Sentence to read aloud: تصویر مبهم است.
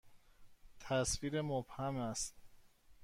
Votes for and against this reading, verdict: 1, 2, rejected